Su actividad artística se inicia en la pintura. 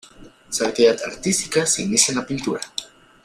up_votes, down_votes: 2, 1